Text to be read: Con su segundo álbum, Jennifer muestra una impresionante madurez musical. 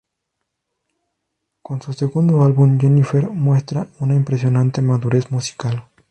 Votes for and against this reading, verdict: 0, 2, rejected